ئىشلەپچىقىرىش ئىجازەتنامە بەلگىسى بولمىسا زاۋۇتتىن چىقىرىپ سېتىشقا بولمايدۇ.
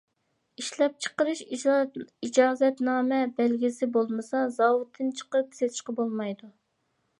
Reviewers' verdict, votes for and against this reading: rejected, 0, 2